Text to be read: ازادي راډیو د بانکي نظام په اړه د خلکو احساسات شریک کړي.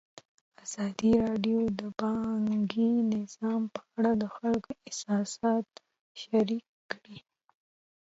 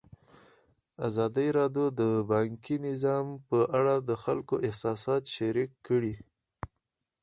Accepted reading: second